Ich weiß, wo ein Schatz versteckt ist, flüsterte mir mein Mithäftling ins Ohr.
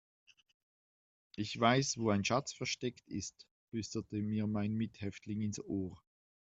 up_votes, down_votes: 2, 0